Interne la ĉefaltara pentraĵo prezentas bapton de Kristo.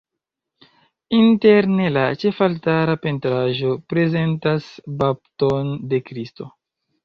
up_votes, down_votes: 2, 0